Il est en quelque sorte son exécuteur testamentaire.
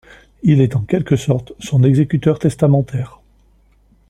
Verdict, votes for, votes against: accepted, 2, 0